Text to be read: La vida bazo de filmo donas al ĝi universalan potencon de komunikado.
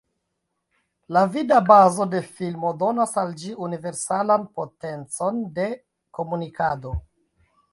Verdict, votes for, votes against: rejected, 0, 2